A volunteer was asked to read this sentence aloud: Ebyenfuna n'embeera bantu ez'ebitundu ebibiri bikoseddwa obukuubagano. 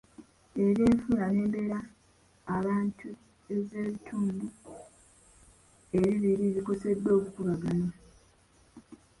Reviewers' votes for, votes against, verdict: 0, 2, rejected